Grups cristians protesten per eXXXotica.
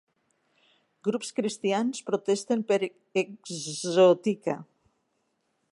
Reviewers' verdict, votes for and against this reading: rejected, 0, 2